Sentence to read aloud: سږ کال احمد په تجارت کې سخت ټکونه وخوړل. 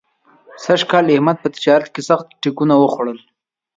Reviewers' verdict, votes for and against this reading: accepted, 2, 0